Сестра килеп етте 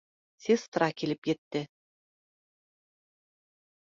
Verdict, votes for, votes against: accepted, 2, 0